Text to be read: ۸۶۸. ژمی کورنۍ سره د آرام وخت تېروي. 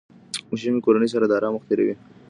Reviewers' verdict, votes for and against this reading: rejected, 0, 2